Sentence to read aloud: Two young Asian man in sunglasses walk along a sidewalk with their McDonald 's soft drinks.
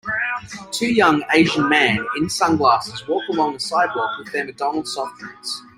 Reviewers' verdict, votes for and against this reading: rejected, 1, 2